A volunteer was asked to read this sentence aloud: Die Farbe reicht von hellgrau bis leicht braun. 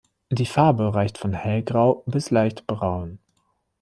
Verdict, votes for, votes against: accepted, 2, 0